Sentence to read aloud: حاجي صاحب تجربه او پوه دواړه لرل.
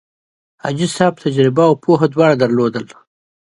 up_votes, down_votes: 2, 0